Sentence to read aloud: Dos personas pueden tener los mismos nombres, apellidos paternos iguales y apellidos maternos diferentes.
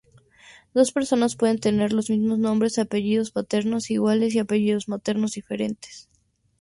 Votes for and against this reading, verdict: 2, 0, accepted